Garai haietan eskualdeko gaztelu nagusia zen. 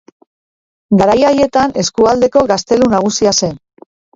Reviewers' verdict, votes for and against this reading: rejected, 0, 2